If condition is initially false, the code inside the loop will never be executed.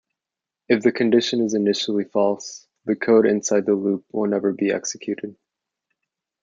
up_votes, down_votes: 1, 2